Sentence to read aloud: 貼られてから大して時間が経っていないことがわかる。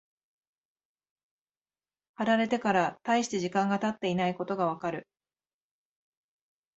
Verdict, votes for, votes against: accepted, 2, 0